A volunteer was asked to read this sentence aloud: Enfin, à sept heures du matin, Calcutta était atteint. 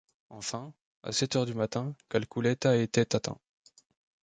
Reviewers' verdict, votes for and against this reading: rejected, 0, 2